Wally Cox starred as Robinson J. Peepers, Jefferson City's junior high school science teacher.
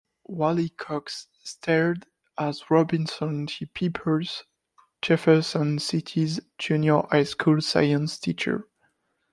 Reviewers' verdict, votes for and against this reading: rejected, 0, 2